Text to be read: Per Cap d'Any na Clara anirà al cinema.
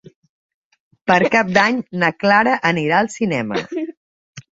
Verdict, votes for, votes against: accepted, 4, 0